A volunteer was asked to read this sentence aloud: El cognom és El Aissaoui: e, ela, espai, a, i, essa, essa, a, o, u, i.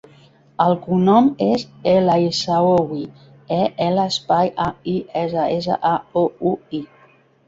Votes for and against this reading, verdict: 2, 3, rejected